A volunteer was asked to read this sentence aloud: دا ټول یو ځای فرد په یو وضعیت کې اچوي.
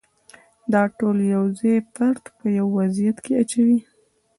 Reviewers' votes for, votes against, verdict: 2, 0, accepted